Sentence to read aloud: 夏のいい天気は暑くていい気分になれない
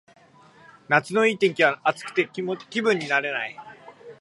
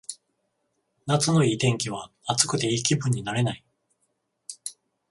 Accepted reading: second